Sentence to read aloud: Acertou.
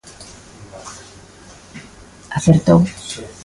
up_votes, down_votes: 1, 2